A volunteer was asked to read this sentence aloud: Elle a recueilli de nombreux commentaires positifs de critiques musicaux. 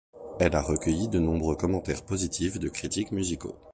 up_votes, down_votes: 2, 0